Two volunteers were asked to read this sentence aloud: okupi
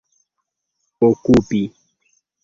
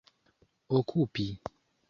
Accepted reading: second